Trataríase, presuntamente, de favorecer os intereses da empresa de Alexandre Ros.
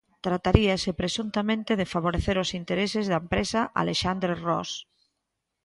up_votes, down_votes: 1, 2